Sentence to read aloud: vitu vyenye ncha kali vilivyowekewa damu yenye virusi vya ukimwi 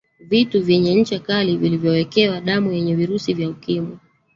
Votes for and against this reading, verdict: 0, 2, rejected